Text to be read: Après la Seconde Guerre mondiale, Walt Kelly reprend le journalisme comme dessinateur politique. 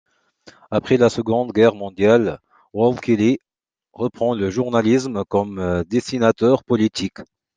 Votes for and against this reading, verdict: 2, 0, accepted